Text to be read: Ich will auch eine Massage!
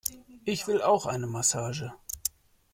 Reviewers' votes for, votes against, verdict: 2, 0, accepted